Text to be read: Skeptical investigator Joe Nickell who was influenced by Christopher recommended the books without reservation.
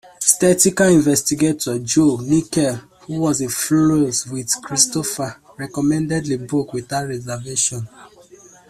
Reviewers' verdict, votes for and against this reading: rejected, 0, 2